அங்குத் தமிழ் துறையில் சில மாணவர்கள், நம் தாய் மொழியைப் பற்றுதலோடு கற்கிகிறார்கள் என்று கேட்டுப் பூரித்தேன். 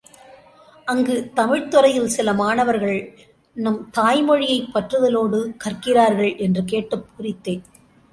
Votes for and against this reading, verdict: 2, 0, accepted